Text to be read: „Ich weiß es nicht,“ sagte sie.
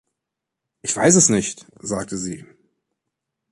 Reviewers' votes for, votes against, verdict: 2, 0, accepted